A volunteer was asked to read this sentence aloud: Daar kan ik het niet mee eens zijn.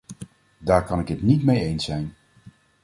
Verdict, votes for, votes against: accepted, 2, 0